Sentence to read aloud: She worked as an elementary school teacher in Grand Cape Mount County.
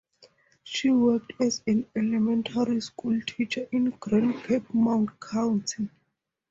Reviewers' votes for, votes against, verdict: 2, 0, accepted